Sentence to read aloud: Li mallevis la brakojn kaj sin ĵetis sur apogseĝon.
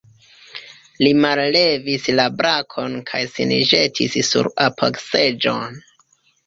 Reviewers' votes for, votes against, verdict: 1, 2, rejected